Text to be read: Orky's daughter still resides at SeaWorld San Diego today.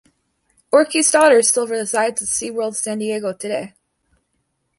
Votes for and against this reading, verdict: 2, 0, accepted